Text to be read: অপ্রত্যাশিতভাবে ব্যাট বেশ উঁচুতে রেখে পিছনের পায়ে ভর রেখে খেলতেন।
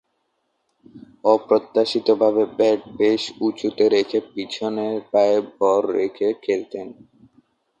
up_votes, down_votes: 13, 2